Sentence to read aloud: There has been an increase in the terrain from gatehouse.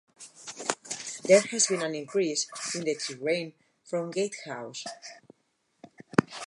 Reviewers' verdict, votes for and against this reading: rejected, 2, 2